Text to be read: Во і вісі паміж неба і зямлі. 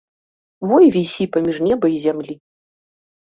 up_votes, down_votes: 2, 0